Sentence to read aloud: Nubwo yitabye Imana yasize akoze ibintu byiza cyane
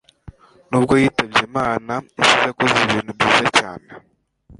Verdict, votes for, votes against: rejected, 0, 2